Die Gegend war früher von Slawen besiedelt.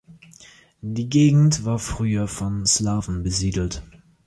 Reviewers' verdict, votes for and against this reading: accepted, 2, 0